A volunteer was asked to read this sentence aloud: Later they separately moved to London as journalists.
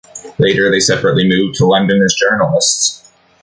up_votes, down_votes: 3, 0